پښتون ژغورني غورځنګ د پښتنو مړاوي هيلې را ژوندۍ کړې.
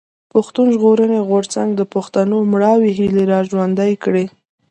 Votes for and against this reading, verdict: 2, 0, accepted